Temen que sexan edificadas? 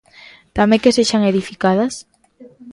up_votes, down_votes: 0, 2